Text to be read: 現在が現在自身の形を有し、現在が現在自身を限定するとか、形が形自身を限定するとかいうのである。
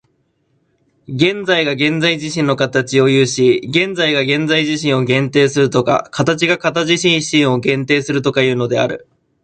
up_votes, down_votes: 0, 2